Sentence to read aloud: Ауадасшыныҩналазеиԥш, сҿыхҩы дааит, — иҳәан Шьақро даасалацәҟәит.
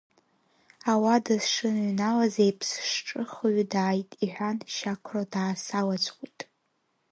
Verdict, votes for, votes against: rejected, 0, 2